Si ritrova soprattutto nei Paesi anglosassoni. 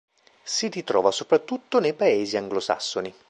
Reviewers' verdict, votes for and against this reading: rejected, 0, 2